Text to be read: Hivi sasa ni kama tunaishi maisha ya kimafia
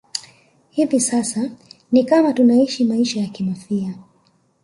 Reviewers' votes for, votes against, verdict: 3, 0, accepted